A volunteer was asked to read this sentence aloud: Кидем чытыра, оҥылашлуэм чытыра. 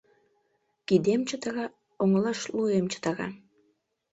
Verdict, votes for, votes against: rejected, 1, 2